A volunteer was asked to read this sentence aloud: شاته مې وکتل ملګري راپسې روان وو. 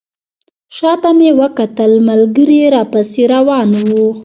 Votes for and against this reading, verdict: 0, 2, rejected